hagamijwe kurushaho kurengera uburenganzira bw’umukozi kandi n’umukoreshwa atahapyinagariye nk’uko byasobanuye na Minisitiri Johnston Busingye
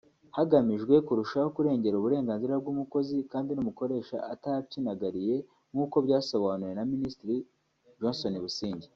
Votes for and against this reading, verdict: 1, 2, rejected